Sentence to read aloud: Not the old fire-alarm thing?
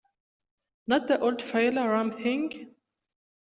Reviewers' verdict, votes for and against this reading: rejected, 1, 2